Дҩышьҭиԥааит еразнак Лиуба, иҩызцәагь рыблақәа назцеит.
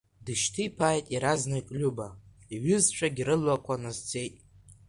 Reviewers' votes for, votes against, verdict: 0, 2, rejected